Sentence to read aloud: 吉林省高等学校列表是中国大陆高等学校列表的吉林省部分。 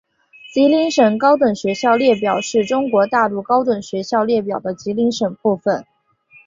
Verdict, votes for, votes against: accepted, 6, 1